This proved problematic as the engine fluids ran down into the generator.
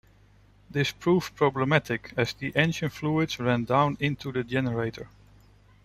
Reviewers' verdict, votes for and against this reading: rejected, 0, 2